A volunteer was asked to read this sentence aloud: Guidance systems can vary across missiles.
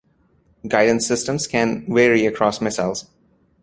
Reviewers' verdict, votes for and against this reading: rejected, 0, 2